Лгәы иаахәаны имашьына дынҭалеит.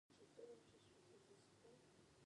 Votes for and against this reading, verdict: 0, 2, rejected